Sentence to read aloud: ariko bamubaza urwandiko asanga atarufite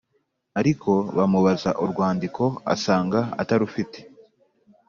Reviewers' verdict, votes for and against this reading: accepted, 3, 0